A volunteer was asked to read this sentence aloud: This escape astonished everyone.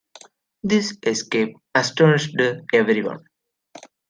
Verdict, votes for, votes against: rejected, 0, 2